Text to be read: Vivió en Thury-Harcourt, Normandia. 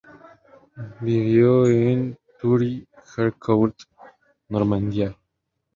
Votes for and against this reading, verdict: 0, 2, rejected